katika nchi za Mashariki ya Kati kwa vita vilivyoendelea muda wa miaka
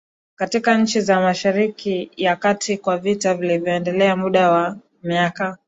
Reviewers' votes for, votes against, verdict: 2, 0, accepted